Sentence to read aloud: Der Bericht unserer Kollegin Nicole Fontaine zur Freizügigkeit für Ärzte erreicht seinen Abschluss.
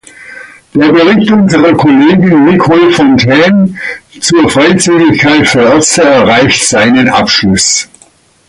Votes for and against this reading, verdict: 2, 0, accepted